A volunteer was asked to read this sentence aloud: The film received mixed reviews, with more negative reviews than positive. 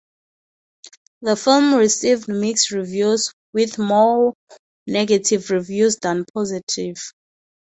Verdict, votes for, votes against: accepted, 4, 0